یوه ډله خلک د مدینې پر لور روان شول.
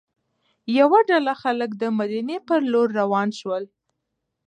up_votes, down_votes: 2, 1